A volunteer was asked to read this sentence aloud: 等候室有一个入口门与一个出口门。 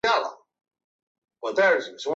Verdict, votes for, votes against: rejected, 2, 3